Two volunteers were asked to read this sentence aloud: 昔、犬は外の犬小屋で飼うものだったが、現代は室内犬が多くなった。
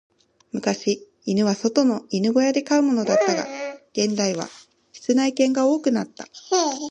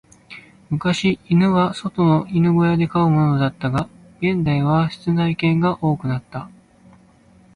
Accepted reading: second